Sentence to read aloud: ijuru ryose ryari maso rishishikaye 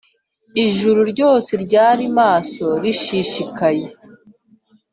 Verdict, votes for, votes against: accepted, 4, 0